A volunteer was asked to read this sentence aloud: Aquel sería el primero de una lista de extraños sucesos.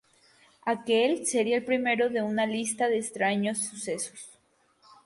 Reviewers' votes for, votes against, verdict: 4, 0, accepted